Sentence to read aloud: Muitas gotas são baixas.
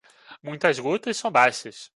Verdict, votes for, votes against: rejected, 1, 2